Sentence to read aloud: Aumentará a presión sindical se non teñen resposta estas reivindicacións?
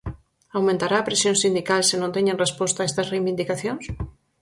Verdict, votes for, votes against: accepted, 4, 2